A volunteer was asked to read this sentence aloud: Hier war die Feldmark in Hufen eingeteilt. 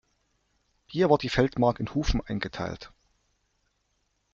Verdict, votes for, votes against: accepted, 2, 1